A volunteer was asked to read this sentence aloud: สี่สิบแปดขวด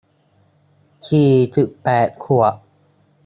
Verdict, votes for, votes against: accepted, 3, 1